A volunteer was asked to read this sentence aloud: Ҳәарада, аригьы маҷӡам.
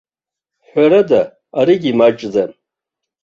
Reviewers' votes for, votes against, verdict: 1, 2, rejected